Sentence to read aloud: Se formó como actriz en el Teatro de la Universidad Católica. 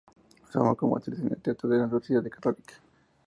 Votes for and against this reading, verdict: 2, 0, accepted